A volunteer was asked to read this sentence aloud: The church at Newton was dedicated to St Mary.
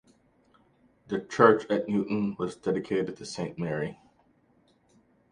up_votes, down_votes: 2, 0